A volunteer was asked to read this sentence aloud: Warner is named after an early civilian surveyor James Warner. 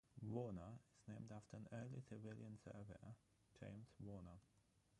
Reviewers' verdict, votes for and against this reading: rejected, 0, 3